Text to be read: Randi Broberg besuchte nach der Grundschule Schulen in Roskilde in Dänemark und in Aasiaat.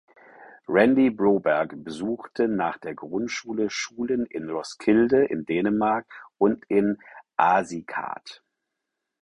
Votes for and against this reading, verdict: 0, 4, rejected